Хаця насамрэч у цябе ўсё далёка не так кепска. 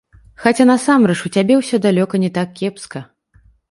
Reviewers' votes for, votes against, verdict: 2, 0, accepted